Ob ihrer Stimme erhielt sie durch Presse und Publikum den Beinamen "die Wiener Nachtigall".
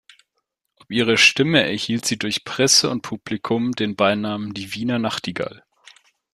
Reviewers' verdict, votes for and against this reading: rejected, 0, 2